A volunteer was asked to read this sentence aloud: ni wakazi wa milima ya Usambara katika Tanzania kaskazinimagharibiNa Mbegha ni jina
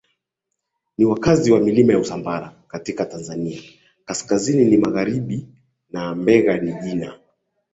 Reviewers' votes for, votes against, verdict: 0, 2, rejected